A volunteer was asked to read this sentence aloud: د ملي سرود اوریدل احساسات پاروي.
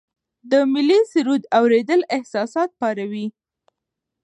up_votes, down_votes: 0, 2